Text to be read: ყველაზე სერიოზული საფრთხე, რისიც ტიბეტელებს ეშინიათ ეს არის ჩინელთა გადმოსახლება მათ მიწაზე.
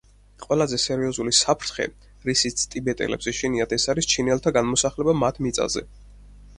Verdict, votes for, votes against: accepted, 4, 0